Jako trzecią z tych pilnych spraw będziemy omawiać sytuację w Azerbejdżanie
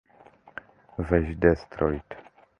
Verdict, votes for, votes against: rejected, 0, 2